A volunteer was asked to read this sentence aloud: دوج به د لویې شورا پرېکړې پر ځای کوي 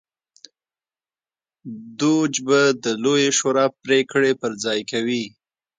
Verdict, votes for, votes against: accepted, 2, 0